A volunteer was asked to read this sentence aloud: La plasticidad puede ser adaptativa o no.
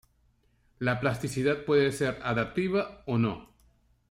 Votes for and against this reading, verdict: 1, 2, rejected